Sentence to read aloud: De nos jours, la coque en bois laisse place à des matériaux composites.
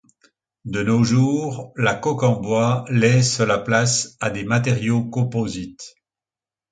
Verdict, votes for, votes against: rejected, 0, 2